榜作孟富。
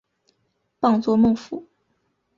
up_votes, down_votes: 2, 0